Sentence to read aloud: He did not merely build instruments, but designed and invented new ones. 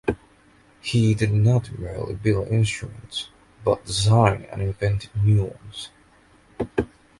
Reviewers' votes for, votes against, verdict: 2, 0, accepted